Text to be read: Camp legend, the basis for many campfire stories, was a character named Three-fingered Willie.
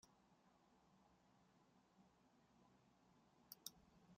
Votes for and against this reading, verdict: 0, 2, rejected